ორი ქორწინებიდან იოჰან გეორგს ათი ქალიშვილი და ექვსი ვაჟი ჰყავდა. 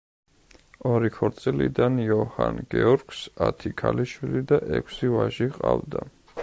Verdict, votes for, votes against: rejected, 1, 2